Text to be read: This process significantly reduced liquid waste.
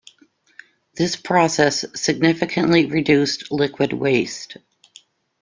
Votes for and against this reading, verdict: 2, 0, accepted